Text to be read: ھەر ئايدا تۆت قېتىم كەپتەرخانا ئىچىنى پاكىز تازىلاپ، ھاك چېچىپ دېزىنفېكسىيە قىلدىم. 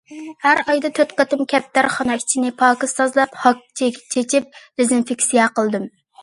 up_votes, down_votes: 0, 2